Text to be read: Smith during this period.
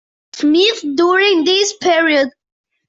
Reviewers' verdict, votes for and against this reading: accepted, 2, 0